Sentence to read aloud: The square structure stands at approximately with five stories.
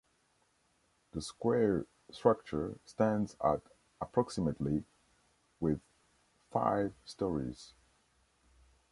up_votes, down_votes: 2, 0